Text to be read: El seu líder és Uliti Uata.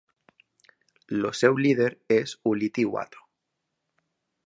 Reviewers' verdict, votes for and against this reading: rejected, 1, 2